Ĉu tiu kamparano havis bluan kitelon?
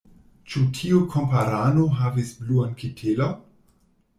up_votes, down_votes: 1, 2